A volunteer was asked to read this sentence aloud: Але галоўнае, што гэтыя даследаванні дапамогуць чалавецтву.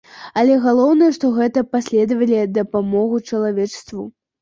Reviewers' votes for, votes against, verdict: 0, 2, rejected